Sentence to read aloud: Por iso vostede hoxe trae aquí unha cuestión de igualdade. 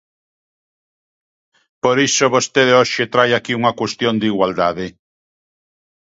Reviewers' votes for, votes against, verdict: 2, 0, accepted